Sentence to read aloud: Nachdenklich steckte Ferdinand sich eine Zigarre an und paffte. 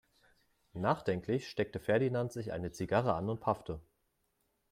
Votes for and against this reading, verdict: 3, 0, accepted